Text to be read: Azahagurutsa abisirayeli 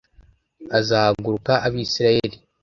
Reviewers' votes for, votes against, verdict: 0, 2, rejected